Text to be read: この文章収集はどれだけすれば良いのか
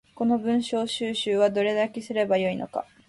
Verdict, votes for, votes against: accepted, 2, 0